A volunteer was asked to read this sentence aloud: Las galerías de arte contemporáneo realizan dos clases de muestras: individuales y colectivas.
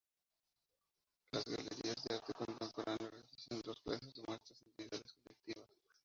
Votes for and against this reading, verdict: 0, 4, rejected